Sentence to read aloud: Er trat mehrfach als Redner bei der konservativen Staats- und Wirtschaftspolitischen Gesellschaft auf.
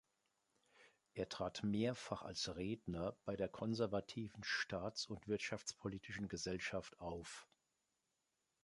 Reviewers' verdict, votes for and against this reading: accepted, 2, 0